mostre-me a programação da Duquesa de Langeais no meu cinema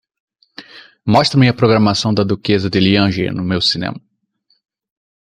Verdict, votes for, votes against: rejected, 1, 2